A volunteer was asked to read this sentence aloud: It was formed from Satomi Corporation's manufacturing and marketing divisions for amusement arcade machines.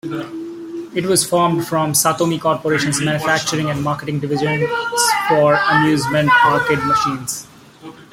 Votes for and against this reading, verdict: 0, 2, rejected